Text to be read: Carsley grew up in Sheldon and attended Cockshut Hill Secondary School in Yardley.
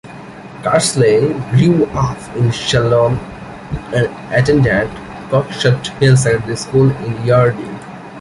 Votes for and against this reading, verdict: 1, 2, rejected